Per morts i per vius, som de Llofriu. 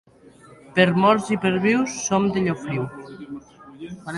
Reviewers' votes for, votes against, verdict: 3, 0, accepted